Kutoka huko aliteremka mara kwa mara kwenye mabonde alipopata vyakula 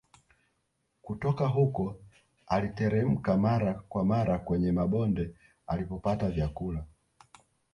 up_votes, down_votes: 0, 2